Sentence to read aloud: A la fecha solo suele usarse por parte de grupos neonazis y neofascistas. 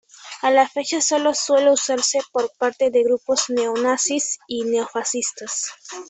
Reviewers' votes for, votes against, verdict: 2, 1, accepted